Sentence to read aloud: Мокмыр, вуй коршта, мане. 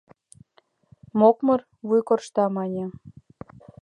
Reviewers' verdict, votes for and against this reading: accepted, 2, 0